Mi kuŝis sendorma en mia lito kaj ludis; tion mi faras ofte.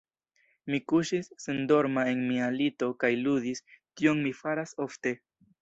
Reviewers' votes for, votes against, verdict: 1, 2, rejected